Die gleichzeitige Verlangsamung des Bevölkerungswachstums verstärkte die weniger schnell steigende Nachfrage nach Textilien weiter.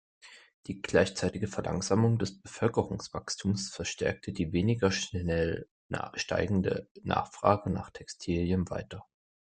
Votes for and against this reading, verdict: 1, 2, rejected